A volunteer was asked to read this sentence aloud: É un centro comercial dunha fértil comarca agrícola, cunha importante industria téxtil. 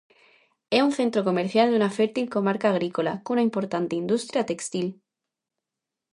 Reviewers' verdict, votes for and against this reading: rejected, 0, 2